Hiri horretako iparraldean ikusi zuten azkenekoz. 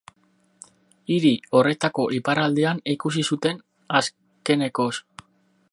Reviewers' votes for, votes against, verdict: 4, 2, accepted